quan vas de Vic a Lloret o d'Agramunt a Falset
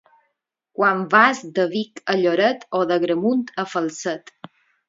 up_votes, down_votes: 2, 2